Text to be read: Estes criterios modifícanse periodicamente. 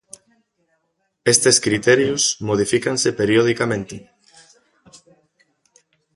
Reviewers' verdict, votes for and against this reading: accepted, 2, 1